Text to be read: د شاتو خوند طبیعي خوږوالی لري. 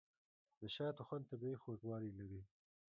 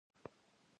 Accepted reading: first